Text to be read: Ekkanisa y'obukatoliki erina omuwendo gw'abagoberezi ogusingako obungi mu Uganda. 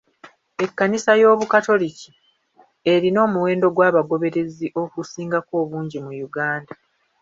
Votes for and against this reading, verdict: 2, 0, accepted